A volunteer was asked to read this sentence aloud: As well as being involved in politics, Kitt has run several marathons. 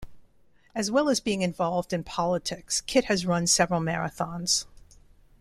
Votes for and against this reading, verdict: 2, 0, accepted